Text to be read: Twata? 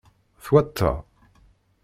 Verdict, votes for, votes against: rejected, 0, 2